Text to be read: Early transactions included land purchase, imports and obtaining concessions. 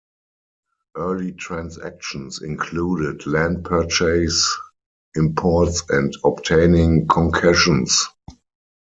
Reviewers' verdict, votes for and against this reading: rejected, 0, 4